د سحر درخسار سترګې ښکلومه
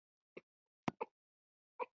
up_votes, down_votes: 0, 2